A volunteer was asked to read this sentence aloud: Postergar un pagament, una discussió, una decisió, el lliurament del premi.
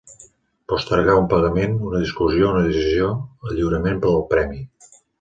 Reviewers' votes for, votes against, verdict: 1, 2, rejected